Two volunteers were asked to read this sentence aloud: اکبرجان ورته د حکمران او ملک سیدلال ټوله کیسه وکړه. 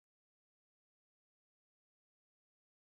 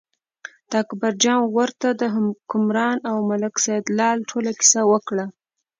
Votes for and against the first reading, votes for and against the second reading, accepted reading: 0, 2, 2, 0, second